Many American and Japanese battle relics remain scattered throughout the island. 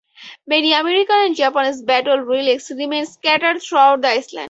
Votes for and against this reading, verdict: 0, 2, rejected